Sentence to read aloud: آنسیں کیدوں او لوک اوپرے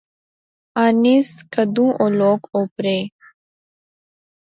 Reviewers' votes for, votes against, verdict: 0, 2, rejected